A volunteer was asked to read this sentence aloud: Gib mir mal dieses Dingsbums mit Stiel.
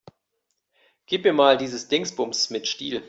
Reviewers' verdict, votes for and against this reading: accepted, 2, 0